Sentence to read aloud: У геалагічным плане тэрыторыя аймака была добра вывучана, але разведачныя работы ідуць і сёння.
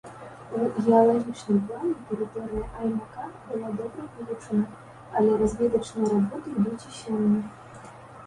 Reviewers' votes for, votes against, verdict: 0, 2, rejected